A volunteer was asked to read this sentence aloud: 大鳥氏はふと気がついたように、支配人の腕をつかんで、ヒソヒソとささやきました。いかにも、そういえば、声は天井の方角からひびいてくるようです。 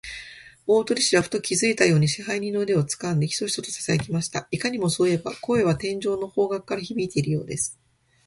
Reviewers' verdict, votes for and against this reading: rejected, 1, 2